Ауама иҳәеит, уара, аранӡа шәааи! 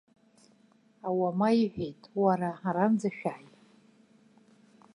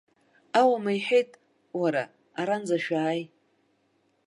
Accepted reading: first